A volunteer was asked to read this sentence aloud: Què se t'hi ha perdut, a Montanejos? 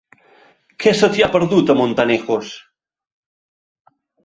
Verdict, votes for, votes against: accepted, 3, 0